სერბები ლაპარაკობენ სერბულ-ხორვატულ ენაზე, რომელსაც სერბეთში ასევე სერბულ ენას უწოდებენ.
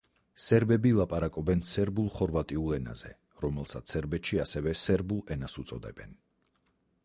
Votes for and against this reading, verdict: 2, 4, rejected